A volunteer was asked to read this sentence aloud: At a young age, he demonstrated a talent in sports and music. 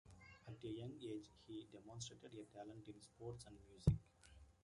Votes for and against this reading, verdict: 2, 1, accepted